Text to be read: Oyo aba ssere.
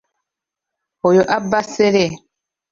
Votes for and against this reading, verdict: 1, 2, rejected